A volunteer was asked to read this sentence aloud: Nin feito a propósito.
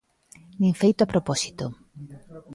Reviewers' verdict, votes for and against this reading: accepted, 2, 0